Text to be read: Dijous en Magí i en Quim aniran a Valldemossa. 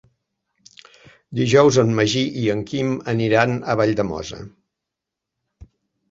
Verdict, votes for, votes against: accepted, 4, 0